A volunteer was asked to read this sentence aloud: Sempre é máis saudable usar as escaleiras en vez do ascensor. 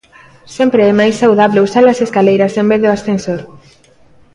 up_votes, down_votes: 2, 1